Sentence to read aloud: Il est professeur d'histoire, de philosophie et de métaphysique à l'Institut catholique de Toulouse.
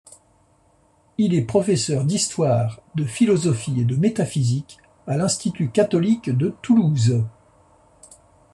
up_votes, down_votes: 2, 0